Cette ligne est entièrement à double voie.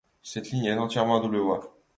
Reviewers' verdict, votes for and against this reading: rejected, 0, 2